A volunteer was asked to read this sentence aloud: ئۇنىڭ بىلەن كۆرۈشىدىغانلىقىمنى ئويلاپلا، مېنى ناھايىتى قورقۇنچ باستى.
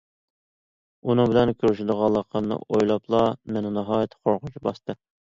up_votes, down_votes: 2, 0